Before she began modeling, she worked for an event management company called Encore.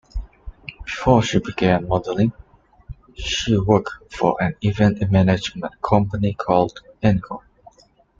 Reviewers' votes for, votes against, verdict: 0, 2, rejected